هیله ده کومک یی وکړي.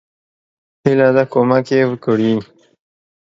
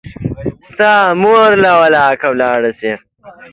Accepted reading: first